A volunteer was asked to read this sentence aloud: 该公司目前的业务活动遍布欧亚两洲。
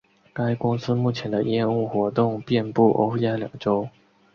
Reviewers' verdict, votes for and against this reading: accepted, 3, 0